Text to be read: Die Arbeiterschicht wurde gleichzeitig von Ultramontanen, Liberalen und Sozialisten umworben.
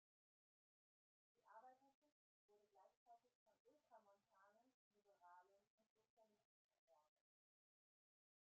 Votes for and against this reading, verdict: 0, 2, rejected